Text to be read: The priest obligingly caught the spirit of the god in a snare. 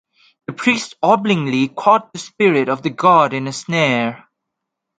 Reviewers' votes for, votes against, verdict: 0, 2, rejected